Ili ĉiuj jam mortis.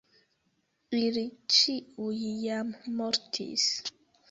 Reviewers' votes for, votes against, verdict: 2, 0, accepted